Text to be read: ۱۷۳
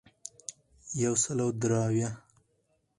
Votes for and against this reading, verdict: 0, 2, rejected